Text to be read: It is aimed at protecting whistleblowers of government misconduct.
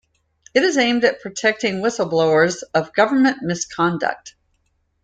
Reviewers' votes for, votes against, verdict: 2, 0, accepted